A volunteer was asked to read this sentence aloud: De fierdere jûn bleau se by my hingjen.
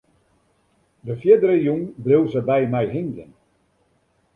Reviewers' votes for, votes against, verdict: 2, 0, accepted